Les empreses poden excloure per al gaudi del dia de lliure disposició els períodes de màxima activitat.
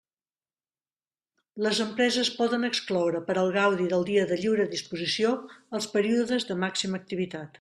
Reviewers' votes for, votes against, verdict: 2, 0, accepted